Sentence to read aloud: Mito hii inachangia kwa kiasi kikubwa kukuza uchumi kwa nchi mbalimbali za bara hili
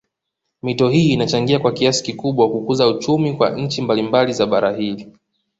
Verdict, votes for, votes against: accepted, 2, 0